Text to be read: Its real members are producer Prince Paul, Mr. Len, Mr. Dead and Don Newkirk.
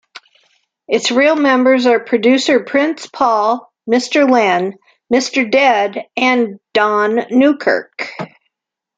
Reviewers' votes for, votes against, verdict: 2, 0, accepted